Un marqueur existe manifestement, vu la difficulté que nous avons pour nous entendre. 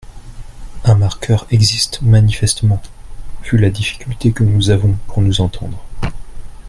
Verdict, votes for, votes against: accepted, 2, 0